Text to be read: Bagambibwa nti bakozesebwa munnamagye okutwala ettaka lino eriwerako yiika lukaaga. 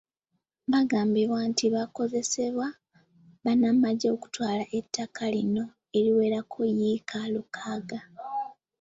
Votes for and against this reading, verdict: 0, 2, rejected